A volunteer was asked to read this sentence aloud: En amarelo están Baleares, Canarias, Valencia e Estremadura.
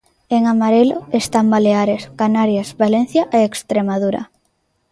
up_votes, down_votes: 0, 2